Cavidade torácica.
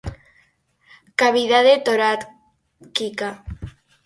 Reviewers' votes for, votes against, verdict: 0, 4, rejected